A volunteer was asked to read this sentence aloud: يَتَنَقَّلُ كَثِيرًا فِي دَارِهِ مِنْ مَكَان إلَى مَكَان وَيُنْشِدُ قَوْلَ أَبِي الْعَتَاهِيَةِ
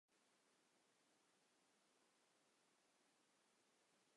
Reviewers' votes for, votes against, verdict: 1, 2, rejected